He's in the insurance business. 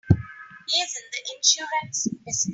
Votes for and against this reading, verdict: 2, 3, rejected